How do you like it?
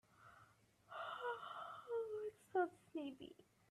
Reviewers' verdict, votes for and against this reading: rejected, 0, 3